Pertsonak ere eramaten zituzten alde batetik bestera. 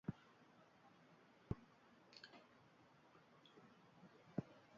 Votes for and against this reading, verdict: 0, 2, rejected